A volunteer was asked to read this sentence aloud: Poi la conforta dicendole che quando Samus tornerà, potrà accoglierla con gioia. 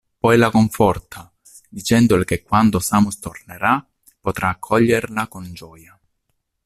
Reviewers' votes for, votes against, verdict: 2, 0, accepted